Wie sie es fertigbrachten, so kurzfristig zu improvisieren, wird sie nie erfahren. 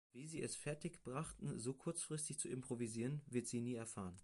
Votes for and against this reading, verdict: 2, 0, accepted